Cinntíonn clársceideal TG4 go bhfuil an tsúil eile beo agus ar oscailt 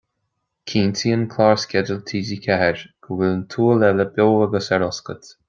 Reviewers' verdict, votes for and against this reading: rejected, 0, 2